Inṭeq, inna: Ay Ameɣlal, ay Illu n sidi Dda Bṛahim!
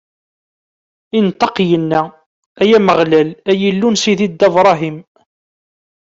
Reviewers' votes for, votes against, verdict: 2, 0, accepted